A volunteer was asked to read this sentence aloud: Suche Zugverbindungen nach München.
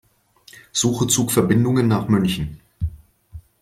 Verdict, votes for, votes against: accepted, 2, 0